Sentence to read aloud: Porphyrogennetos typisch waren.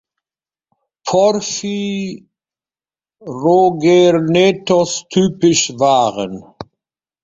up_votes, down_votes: 0, 2